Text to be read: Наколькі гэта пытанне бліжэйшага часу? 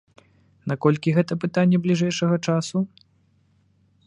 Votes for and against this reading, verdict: 2, 0, accepted